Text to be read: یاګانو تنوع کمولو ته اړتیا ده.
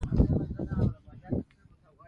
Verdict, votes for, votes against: accepted, 2, 0